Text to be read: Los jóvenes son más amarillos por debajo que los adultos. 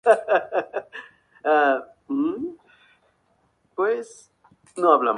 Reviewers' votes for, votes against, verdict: 0, 2, rejected